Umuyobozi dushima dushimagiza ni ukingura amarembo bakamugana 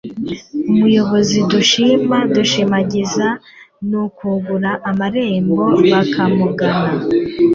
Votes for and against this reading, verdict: 2, 1, accepted